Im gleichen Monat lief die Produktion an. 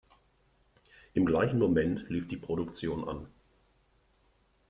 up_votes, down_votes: 0, 2